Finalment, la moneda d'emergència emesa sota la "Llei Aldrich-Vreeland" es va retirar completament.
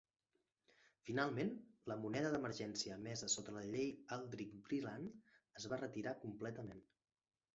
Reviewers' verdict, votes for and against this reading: rejected, 0, 2